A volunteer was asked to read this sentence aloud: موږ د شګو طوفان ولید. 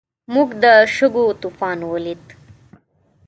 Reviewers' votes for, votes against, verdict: 2, 0, accepted